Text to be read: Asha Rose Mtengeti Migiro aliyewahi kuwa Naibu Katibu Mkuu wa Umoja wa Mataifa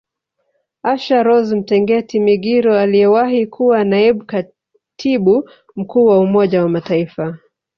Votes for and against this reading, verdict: 1, 2, rejected